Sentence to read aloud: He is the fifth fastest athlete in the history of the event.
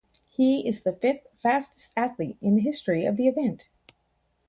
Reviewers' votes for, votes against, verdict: 2, 2, rejected